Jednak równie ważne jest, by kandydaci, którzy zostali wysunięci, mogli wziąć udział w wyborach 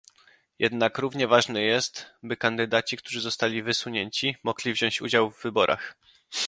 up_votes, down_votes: 2, 0